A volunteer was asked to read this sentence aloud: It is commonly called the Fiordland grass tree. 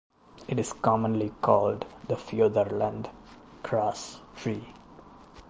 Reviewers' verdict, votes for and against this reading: rejected, 1, 2